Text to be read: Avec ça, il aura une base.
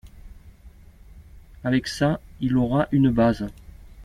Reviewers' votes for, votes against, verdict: 2, 0, accepted